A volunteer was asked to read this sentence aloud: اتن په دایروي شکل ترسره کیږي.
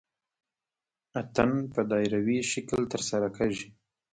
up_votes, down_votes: 1, 2